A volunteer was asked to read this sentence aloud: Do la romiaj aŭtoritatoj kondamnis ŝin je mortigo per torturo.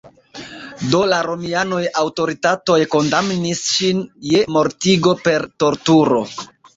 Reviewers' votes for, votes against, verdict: 2, 1, accepted